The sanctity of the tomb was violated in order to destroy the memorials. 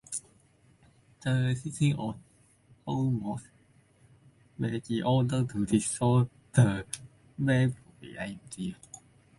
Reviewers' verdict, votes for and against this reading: rejected, 0, 2